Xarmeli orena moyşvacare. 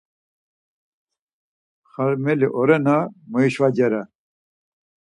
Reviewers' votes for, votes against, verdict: 2, 4, rejected